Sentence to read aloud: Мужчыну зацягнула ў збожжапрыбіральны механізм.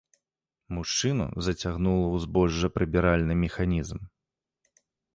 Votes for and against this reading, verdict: 2, 0, accepted